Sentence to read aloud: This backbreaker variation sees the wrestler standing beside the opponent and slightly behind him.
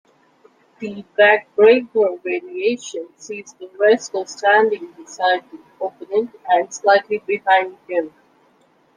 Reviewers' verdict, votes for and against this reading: rejected, 1, 2